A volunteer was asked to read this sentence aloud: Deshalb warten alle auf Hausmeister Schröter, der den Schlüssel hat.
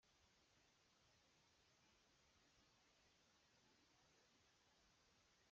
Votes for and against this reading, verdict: 0, 2, rejected